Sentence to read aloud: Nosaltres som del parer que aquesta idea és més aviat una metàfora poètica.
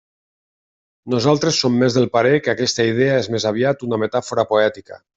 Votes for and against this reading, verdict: 0, 2, rejected